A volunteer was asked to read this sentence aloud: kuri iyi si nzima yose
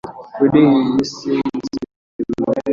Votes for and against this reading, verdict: 2, 0, accepted